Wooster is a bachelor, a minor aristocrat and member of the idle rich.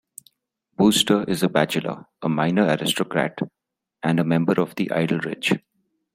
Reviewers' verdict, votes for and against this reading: rejected, 0, 2